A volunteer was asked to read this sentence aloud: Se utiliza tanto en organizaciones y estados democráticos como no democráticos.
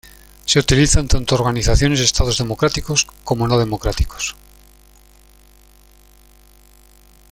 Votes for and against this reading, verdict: 2, 1, accepted